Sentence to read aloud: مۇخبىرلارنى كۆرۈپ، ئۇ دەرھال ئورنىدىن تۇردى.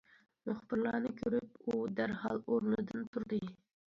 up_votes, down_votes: 2, 0